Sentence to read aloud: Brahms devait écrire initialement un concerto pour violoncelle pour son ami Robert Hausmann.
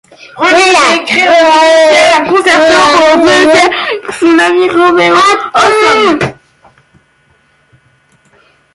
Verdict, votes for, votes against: rejected, 0, 2